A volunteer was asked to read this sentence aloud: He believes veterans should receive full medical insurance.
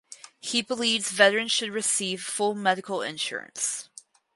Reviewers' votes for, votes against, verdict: 4, 0, accepted